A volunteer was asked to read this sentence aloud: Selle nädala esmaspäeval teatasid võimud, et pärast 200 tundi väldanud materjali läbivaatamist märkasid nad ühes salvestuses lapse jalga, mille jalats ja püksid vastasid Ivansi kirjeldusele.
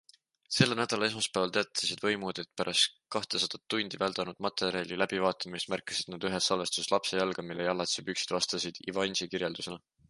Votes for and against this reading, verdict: 0, 2, rejected